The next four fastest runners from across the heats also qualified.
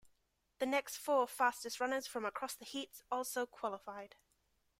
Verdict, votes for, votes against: accepted, 2, 0